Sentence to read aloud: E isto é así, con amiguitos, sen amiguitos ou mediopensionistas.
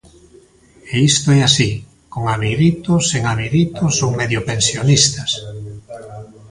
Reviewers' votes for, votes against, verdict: 1, 2, rejected